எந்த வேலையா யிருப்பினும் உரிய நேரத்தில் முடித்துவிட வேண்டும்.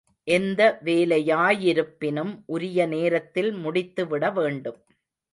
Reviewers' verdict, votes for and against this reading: accepted, 2, 0